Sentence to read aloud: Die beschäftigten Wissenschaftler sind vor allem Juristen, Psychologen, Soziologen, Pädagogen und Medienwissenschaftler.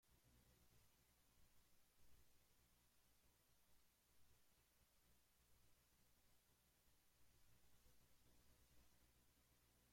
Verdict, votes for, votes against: rejected, 0, 2